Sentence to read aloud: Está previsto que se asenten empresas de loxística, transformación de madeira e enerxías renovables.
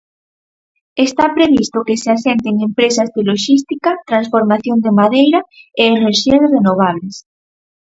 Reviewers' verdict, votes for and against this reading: accepted, 4, 2